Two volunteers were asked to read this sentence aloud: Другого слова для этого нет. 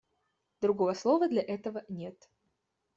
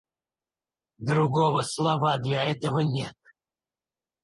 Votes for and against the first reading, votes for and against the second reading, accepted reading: 2, 0, 0, 4, first